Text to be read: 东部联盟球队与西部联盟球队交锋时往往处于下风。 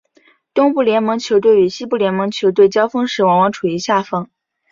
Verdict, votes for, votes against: accepted, 2, 0